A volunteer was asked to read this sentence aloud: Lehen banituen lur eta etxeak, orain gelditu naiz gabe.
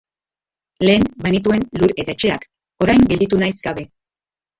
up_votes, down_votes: 0, 2